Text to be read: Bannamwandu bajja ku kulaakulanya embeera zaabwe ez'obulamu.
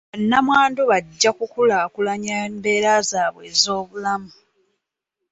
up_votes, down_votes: 2, 0